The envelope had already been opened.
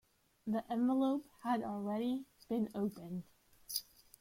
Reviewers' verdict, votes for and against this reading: rejected, 1, 2